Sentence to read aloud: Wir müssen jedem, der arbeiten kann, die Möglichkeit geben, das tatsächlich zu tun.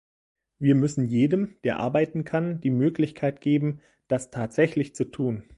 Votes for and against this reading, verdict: 2, 0, accepted